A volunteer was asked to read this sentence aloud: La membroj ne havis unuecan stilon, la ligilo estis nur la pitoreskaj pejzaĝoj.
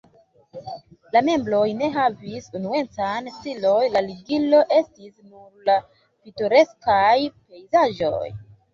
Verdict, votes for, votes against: rejected, 1, 2